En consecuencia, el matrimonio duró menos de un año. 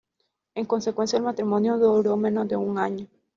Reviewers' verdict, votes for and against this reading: rejected, 0, 2